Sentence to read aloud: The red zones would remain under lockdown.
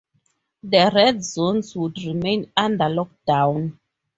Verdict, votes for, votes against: accepted, 2, 0